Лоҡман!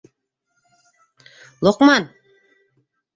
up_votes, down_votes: 2, 0